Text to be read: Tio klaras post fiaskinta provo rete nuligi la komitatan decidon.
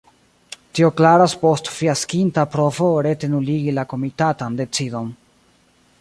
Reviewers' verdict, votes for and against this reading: accepted, 2, 1